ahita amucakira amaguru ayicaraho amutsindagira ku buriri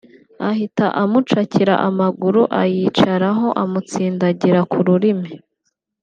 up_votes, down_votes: 1, 4